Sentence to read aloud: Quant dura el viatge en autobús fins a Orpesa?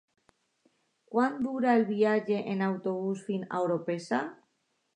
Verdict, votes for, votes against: accepted, 2, 0